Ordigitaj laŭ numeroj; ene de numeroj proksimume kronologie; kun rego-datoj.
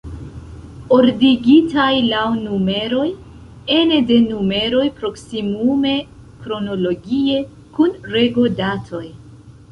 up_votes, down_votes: 2, 1